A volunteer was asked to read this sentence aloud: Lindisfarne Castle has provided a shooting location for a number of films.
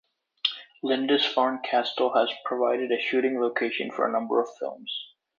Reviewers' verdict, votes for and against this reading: accepted, 2, 0